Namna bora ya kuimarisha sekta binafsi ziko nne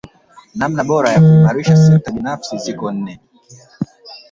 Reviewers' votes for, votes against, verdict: 1, 2, rejected